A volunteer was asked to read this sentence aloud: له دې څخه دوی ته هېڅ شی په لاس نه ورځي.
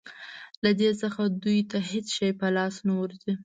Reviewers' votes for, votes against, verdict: 2, 0, accepted